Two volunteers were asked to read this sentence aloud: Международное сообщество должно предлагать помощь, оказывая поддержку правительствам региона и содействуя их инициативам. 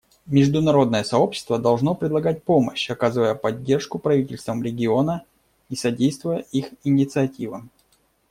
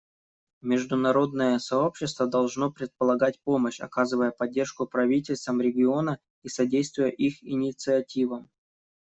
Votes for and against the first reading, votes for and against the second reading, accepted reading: 2, 0, 0, 2, first